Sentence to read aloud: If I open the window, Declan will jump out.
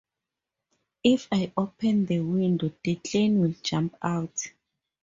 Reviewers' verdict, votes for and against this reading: accepted, 2, 0